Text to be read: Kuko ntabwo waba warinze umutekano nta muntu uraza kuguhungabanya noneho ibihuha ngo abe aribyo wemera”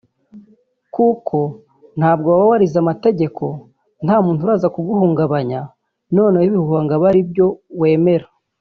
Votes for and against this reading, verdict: 1, 2, rejected